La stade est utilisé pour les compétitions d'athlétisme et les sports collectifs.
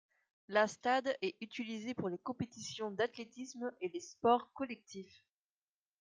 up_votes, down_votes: 2, 0